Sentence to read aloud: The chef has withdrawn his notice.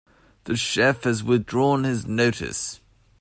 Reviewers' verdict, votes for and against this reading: accepted, 2, 0